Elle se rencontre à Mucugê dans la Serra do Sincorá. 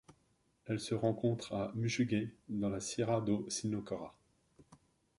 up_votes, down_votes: 1, 2